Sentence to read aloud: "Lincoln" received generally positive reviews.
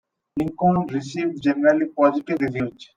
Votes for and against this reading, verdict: 1, 2, rejected